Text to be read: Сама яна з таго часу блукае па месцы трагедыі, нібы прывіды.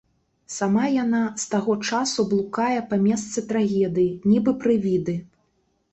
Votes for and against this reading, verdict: 2, 1, accepted